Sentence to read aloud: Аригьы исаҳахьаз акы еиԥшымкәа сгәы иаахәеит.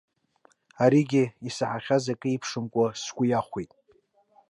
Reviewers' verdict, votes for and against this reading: rejected, 1, 2